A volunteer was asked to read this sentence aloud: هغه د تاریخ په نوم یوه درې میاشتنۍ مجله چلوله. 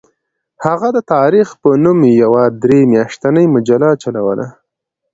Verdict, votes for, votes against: accepted, 2, 0